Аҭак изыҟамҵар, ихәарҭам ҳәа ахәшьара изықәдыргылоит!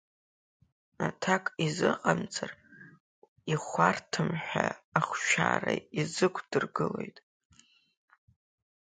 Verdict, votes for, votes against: rejected, 2, 4